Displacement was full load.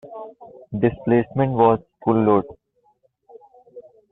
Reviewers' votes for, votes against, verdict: 2, 0, accepted